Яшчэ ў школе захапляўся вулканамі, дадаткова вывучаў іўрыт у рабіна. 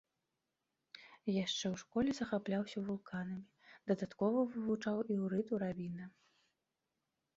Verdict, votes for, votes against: accepted, 2, 0